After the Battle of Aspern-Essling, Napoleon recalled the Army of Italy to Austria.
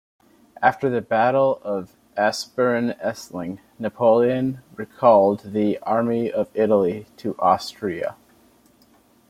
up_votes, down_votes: 2, 0